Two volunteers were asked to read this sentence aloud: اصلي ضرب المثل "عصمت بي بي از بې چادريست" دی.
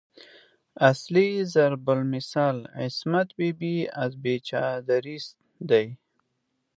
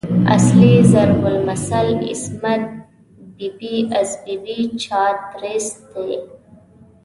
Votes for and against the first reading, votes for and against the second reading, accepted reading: 2, 0, 0, 2, first